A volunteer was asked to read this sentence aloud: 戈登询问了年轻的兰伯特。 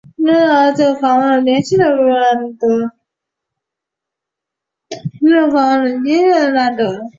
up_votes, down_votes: 0, 4